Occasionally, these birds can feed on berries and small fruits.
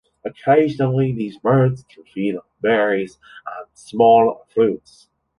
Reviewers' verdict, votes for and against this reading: rejected, 0, 2